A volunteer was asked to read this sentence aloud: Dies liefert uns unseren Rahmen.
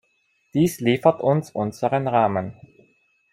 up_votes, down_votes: 2, 0